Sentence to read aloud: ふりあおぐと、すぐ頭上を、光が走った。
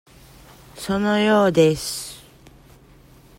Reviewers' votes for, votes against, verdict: 0, 2, rejected